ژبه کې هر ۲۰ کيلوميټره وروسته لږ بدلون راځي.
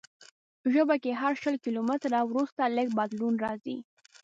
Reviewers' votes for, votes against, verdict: 0, 2, rejected